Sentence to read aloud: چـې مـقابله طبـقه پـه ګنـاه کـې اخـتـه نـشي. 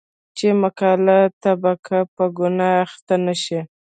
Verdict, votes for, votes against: rejected, 1, 2